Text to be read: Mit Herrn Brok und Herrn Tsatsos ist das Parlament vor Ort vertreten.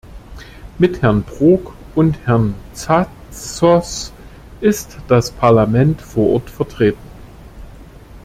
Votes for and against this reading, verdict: 2, 0, accepted